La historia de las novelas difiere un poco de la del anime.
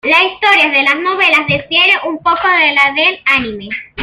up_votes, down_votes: 0, 2